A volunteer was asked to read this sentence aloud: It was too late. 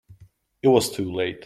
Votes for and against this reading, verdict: 2, 0, accepted